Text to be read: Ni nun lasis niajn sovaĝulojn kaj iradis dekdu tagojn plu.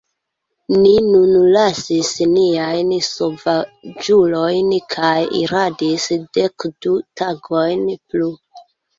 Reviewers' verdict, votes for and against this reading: rejected, 1, 2